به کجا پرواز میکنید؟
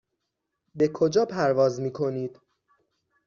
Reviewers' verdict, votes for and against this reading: accepted, 6, 0